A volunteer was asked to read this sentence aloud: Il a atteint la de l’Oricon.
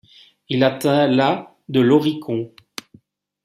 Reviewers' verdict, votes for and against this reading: rejected, 1, 2